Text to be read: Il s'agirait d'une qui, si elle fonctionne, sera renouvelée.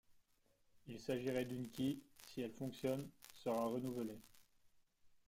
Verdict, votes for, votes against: rejected, 0, 2